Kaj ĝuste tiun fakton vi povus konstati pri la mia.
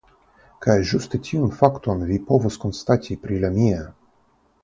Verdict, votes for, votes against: accepted, 3, 0